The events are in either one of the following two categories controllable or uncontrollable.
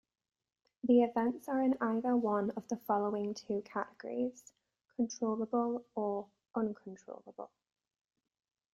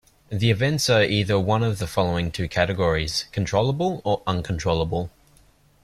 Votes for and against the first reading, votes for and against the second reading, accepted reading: 2, 0, 0, 2, first